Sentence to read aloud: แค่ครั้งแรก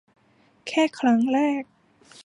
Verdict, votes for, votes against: accepted, 2, 0